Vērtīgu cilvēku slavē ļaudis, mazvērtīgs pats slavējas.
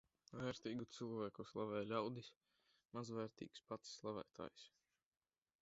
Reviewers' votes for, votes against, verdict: 1, 2, rejected